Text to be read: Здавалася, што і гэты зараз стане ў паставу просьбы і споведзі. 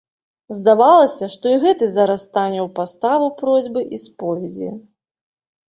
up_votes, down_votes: 2, 0